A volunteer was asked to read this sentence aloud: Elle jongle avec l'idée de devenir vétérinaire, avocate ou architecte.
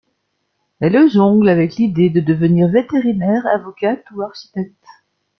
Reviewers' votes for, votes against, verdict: 0, 2, rejected